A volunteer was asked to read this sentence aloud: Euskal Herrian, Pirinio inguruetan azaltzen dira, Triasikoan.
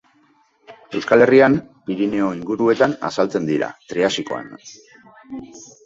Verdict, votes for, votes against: rejected, 0, 2